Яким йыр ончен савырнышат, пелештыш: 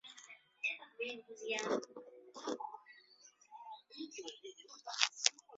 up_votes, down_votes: 0, 2